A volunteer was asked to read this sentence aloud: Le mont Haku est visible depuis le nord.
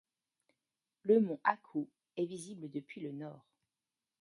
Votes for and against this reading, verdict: 0, 2, rejected